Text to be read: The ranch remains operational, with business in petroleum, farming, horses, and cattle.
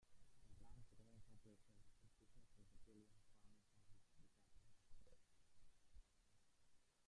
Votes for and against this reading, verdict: 0, 3, rejected